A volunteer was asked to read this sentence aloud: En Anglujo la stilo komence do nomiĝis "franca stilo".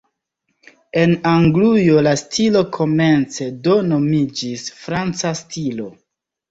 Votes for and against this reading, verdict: 1, 2, rejected